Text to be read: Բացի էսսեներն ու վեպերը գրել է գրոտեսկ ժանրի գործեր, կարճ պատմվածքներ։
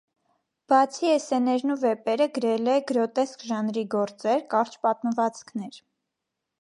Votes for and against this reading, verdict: 1, 2, rejected